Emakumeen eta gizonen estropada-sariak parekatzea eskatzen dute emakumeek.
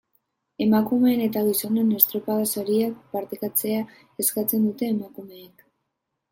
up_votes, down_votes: 1, 2